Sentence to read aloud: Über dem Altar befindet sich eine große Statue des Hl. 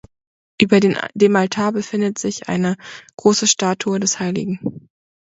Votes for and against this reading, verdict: 0, 2, rejected